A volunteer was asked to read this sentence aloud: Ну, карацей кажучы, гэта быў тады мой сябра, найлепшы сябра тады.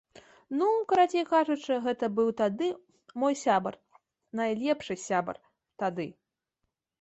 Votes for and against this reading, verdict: 0, 2, rejected